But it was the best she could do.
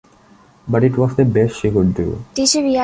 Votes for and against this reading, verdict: 1, 2, rejected